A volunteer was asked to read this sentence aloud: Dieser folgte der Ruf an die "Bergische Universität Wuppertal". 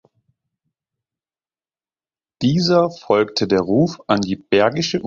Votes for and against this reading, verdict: 0, 2, rejected